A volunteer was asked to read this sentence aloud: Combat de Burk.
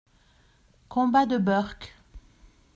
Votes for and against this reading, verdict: 2, 0, accepted